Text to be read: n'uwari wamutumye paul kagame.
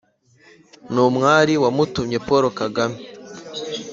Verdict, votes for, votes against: rejected, 0, 2